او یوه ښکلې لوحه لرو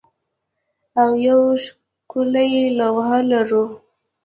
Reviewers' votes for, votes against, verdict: 2, 0, accepted